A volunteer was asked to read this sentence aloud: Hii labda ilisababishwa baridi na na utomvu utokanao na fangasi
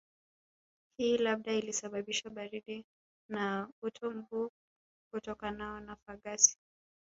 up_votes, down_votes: 1, 2